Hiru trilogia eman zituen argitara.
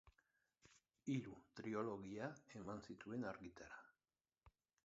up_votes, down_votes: 0, 3